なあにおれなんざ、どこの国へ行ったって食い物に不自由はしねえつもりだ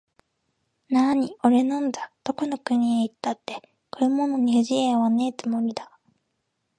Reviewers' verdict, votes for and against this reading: rejected, 0, 2